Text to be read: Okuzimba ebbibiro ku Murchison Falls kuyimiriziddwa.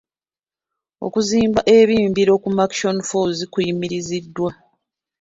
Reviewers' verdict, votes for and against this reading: rejected, 0, 2